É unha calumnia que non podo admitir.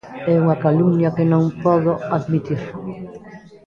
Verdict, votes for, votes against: rejected, 1, 2